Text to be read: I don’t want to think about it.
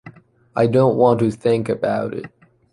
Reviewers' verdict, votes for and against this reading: accepted, 2, 1